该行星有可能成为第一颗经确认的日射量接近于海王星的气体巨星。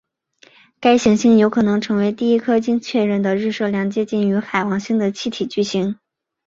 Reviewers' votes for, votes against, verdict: 4, 1, accepted